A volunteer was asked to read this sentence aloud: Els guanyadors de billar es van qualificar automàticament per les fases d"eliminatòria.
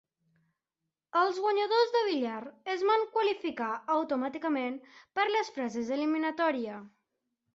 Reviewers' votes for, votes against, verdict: 1, 2, rejected